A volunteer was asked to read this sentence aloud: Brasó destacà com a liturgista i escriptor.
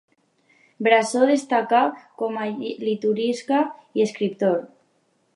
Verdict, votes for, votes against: rejected, 0, 2